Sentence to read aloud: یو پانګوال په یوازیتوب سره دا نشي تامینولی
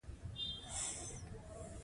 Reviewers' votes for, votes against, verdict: 1, 2, rejected